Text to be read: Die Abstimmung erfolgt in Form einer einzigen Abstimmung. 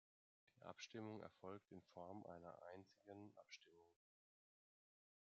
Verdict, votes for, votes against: accepted, 2, 0